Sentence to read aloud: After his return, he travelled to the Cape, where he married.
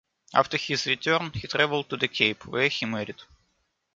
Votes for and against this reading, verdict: 0, 2, rejected